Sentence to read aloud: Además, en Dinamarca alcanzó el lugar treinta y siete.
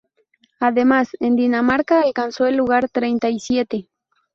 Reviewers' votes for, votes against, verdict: 4, 0, accepted